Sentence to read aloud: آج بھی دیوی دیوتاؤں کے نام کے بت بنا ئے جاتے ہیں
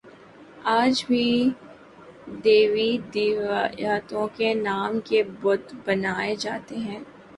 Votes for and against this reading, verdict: 0, 2, rejected